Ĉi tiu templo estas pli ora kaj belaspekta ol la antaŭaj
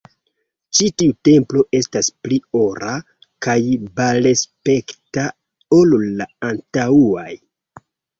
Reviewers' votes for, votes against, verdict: 1, 2, rejected